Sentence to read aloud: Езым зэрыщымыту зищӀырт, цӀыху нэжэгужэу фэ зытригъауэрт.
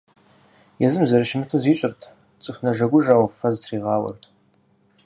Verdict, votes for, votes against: accepted, 4, 0